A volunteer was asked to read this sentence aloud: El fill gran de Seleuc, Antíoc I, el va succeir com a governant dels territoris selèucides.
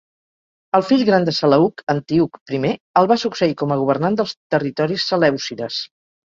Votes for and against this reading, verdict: 2, 0, accepted